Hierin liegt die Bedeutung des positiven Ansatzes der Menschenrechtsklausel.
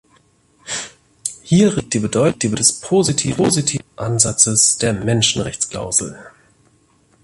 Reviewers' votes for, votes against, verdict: 0, 2, rejected